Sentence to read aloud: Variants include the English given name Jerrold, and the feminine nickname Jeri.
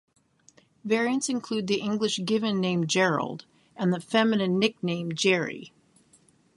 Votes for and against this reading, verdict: 0, 3, rejected